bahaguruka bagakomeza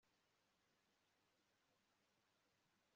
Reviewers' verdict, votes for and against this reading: accepted, 2, 0